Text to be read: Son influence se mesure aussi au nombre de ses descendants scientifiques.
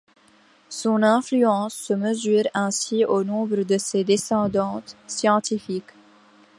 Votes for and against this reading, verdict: 1, 2, rejected